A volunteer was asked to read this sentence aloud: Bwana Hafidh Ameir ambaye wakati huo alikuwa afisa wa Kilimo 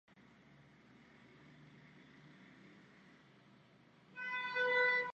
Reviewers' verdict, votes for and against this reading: rejected, 0, 2